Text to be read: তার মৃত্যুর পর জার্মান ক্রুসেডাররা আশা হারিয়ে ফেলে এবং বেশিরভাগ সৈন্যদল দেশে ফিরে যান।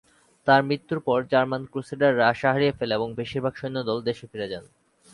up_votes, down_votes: 3, 0